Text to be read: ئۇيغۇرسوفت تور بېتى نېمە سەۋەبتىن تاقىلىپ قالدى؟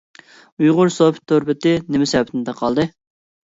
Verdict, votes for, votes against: rejected, 1, 2